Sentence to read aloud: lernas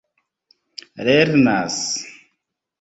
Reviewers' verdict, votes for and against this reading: accepted, 2, 0